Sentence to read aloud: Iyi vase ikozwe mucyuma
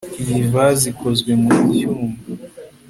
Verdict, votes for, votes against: accepted, 2, 0